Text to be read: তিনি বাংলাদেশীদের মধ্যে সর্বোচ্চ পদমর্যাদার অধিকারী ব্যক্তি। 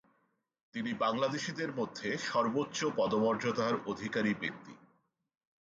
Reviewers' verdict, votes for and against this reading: accepted, 6, 2